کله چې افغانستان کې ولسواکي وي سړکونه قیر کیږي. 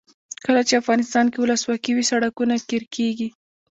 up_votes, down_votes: 1, 2